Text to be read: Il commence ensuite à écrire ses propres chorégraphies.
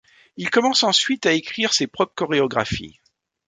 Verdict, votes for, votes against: rejected, 0, 2